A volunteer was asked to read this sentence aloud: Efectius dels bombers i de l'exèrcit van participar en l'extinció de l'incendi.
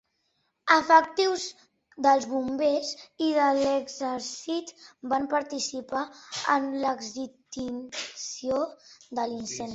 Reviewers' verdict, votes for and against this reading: rejected, 0, 2